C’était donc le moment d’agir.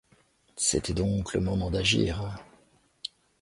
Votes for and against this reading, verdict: 2, 0, accepted